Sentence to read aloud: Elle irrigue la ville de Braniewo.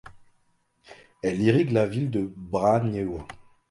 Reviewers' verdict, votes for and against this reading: rejected, 1, 2